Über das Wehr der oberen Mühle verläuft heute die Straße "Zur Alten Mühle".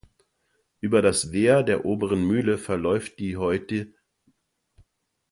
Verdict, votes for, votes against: rejected, 0, 2